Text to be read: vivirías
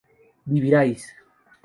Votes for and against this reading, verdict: 4, 2, accepted